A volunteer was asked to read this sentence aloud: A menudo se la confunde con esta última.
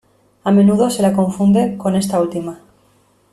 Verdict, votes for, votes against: accepted, 2, 0